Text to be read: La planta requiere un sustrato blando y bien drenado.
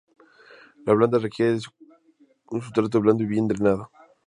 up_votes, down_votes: 0, 2